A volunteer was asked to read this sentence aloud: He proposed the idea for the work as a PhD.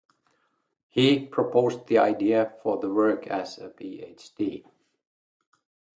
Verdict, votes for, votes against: rejected, 2, 2